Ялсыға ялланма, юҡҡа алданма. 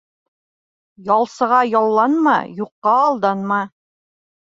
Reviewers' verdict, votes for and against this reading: accepted, 2, 1